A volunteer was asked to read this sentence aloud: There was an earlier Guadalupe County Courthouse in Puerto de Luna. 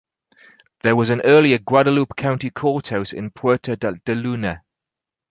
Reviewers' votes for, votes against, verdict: 2, 4, rejected